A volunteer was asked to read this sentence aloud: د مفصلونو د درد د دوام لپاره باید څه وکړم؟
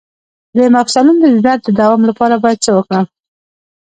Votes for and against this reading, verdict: 1, 2, rejected